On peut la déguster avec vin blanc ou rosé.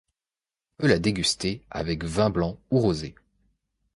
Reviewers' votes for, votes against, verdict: 0, 2, rejected